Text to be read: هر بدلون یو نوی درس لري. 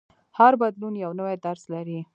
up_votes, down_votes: 1, 2